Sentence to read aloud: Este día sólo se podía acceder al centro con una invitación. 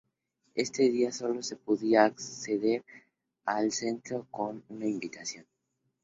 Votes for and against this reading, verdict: 2, 0, accepted